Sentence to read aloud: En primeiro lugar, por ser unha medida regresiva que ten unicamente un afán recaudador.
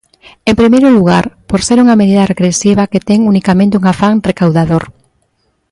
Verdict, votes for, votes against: accepted, 2, 0